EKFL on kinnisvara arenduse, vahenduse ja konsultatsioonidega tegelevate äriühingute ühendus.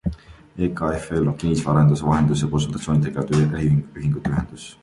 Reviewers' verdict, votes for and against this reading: rejected, 0, 2